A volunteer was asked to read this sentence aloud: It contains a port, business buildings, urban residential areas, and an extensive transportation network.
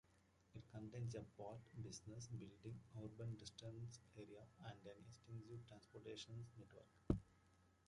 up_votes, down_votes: 1, 2